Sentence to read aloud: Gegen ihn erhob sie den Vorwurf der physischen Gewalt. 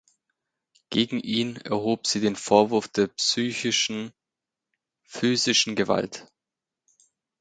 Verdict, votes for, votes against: rejected, 0, 2